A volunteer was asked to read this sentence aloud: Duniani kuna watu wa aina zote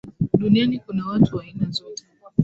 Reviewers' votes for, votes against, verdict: 2, 1, accepted